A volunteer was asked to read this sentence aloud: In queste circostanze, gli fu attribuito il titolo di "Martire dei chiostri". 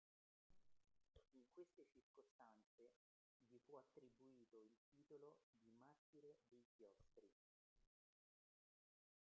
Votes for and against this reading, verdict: 0, 3, rejected